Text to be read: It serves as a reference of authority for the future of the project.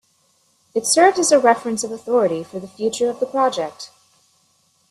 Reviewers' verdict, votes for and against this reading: accepted, 2, 0